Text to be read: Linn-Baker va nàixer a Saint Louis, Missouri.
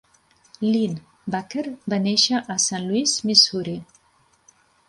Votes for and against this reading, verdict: 0, 2, rejected